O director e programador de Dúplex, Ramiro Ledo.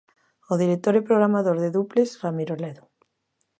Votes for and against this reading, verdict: 2, 0, accepted